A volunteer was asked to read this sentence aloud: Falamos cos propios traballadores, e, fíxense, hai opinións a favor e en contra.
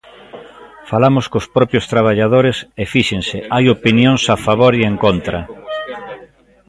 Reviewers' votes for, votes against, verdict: 2, 0, accepted